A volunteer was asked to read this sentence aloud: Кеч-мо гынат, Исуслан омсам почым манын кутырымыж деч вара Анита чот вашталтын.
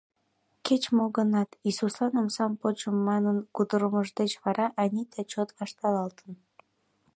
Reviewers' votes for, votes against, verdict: 1, 2, rejected